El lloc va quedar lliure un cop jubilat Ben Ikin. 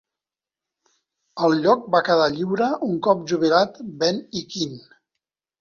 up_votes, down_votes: 2, 0